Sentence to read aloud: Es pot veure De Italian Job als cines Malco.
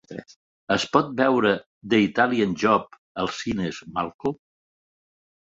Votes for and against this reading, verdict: 0, 3, rejected